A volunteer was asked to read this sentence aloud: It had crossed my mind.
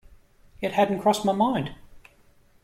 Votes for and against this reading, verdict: 0, 2, rejected